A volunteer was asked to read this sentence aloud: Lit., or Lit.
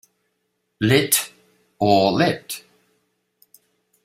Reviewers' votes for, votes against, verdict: 2, 0, accepted